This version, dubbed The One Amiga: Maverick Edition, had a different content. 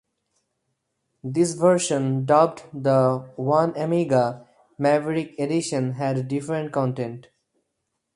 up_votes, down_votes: 4, 0